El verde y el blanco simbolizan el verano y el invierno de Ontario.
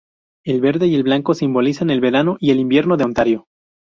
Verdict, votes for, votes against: rejected, 2, 2